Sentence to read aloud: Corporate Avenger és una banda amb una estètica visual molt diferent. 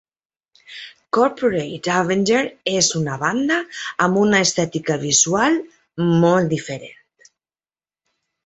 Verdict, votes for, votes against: accepted, 3, 0